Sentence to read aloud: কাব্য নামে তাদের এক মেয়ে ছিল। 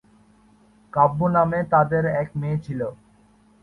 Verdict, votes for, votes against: accepted, 4, 0